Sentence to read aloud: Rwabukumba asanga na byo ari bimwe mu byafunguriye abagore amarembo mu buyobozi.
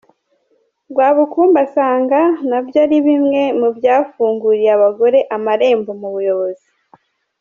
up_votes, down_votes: 2, 0